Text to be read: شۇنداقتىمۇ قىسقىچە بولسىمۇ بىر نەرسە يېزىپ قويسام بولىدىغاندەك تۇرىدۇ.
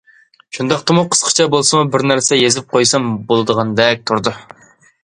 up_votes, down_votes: 2, 0